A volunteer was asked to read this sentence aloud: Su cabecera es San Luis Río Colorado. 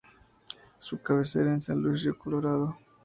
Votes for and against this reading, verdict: 2, 0, accepted